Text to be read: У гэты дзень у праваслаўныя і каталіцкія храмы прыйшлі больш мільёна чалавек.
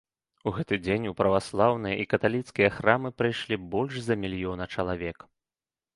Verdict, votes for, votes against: rejected, 0, 2